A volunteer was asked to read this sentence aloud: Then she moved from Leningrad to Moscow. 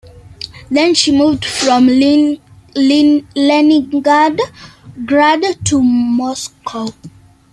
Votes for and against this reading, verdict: 0, 2, rejected